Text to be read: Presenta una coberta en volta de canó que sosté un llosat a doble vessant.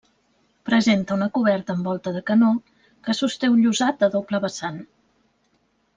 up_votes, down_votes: 2, 1